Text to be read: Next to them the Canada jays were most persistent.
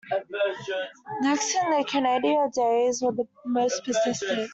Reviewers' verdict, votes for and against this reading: rejected, 0, 2